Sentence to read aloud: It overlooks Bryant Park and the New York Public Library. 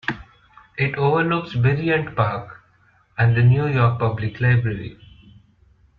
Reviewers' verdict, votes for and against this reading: rejected, 1, 2